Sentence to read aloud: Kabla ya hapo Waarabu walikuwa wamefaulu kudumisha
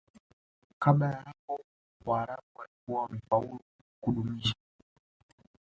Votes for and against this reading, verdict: 2, 1, accepted